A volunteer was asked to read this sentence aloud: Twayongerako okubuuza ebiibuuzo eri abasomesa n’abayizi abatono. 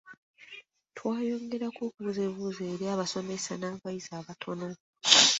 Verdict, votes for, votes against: accepted, 2, 0